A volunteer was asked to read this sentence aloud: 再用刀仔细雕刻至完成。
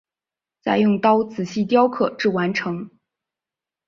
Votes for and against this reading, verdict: 5, 0, accepted